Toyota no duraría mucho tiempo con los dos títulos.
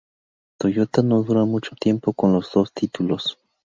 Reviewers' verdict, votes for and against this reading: rejected, 0, 4